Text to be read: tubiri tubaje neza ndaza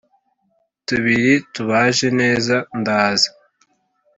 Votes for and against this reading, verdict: 3, 1, accepted